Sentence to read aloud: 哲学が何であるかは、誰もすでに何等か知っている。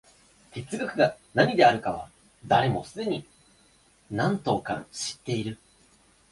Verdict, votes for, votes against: accepted, 2, 1